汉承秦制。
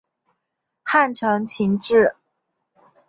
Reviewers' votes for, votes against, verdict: 2, 0, accepted